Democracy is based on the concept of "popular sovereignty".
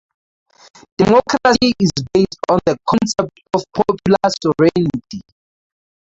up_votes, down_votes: 0, 4